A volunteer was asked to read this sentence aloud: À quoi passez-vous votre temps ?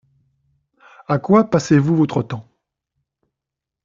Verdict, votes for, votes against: accepted, 2, 0